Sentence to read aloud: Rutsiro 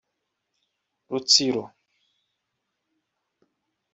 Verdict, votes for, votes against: accepted, 2, 0